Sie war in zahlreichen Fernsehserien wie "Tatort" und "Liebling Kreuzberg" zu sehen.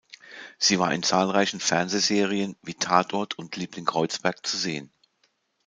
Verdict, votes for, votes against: accepted, 2, 0